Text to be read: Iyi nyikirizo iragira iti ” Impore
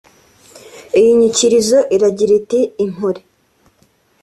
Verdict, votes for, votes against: accepted, 2, 0